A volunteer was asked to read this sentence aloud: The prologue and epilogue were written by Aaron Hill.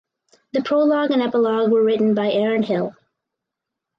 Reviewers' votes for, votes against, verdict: 4, 0, accepted